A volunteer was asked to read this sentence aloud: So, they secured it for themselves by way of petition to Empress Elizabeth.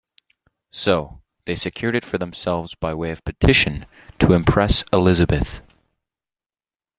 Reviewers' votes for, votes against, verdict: 1, 2, rejected